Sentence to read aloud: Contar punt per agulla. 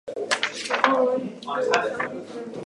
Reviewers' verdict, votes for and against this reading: rejected, 0, 2